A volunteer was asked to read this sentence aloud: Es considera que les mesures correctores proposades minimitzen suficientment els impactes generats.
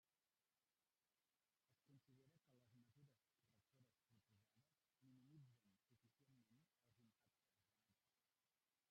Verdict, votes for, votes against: rejected, 0, 2